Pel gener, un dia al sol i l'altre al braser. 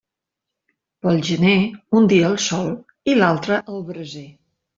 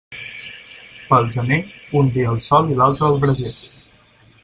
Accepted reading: first